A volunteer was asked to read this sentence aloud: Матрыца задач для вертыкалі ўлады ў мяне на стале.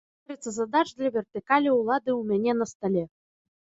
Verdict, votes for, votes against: rejected, 1, 2